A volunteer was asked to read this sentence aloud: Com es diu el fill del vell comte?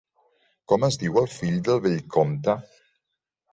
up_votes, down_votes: 2, 0